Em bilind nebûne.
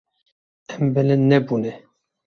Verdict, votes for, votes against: accepted, 2, 0